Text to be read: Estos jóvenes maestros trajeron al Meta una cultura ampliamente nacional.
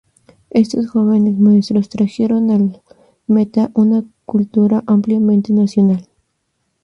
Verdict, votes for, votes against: rejected, 0, 2